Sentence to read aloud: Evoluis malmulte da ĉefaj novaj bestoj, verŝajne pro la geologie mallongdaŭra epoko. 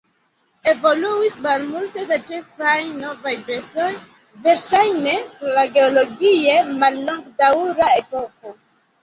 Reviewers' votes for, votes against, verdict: 0, 2, rejected